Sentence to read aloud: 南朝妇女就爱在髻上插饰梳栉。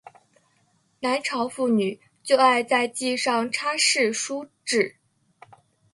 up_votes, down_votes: 0, 2